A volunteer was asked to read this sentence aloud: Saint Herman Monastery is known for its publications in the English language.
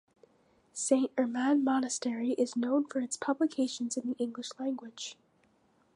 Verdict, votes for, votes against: accepted, 2, 1